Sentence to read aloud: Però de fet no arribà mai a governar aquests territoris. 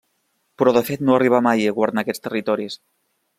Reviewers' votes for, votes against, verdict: 2, 0, accepted